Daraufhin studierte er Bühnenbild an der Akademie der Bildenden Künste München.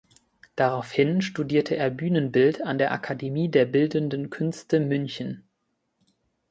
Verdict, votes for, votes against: accepted, 2, 0